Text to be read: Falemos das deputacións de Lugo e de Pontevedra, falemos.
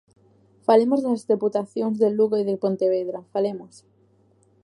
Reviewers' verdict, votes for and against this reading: accepted, 2, 1